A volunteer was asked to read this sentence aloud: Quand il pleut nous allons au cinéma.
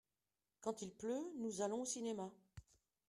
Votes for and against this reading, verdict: 2, 0, accepted